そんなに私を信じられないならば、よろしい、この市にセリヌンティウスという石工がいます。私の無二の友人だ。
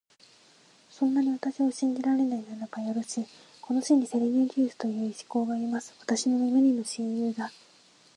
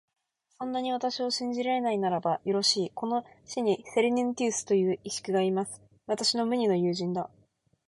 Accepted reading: second